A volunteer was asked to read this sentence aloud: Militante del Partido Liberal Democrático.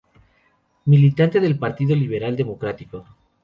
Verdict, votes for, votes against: rejected, 0, 2